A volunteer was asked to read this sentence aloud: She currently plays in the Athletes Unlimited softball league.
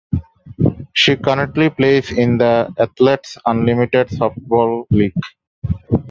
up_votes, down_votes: 2, 0